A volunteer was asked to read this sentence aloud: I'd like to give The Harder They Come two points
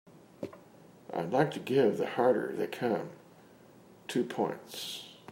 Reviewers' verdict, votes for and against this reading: accepted, 2, 0